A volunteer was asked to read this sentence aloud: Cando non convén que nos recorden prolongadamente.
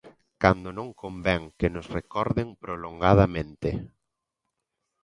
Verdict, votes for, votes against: accepted, 2, 0